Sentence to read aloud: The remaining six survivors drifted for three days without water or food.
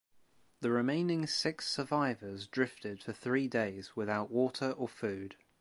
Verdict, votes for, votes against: accepted, 2, 0